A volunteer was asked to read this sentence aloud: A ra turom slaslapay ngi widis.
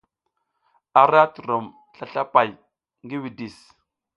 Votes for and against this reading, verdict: 2, 0, accepted